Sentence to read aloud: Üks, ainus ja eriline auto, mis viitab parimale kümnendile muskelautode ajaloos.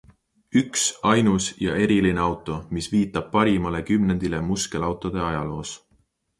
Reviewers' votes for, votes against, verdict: 2, 0, accepted